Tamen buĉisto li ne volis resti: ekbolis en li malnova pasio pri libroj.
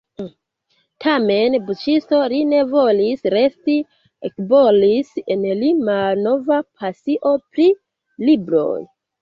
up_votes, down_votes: 2, 0